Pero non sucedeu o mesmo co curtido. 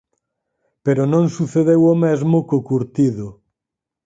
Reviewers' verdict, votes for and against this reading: accepted, 4, 0